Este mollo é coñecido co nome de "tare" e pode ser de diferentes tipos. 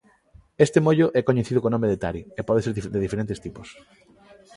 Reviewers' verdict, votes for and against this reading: rejected, 0, 2